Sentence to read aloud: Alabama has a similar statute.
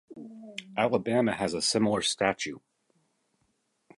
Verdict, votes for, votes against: accepted, 2, 1